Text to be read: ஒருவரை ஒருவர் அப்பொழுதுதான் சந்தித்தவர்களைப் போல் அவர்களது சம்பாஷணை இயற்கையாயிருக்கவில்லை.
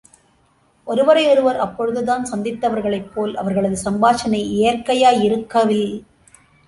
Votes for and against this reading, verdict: 0, 2, rejected